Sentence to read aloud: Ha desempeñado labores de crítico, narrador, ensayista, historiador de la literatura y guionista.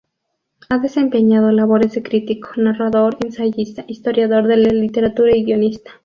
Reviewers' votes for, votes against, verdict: 2, 0, accepted